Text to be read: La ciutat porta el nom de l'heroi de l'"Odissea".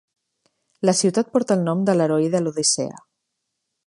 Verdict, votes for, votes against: accepted, 3, 0